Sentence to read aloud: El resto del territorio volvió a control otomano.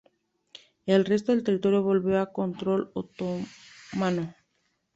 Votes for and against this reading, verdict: 0, 3, rejected